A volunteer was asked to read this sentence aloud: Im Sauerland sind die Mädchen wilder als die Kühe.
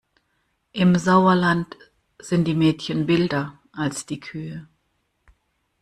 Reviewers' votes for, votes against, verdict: 2, 0, accepted